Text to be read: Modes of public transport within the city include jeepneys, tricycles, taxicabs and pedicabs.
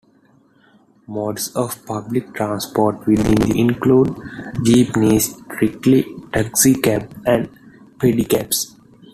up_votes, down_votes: 0, 2